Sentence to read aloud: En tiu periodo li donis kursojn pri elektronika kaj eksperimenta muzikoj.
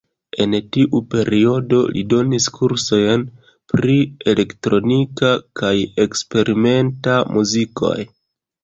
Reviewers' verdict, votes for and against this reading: accepted, 2, 1